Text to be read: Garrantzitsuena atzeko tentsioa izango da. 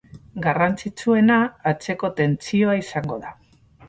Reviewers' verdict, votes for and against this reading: accepted, 4, 2